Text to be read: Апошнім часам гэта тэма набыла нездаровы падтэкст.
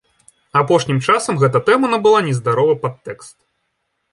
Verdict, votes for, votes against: accepted, 2, 0